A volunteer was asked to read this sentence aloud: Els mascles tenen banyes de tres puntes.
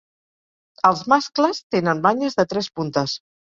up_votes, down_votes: 4, 0